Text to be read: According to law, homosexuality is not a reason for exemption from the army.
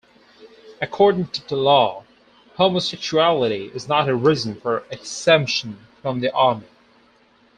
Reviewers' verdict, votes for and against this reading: rejected, 2, 4